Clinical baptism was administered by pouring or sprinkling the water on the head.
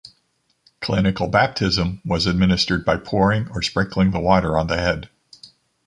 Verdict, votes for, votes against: accepted, 2, 0